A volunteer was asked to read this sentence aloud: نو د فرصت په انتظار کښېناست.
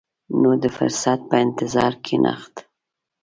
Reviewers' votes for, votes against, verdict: 2, 0, accepted